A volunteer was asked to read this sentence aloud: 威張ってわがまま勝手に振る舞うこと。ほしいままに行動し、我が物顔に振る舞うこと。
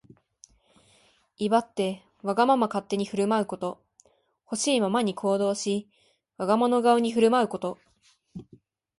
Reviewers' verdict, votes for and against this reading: accepted, 4, 1